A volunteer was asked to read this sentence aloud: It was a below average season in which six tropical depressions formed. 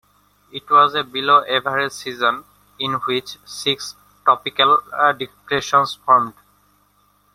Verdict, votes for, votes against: rejected, 0, 2